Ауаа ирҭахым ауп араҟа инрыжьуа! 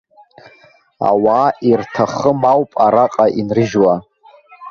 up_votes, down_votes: 0, 2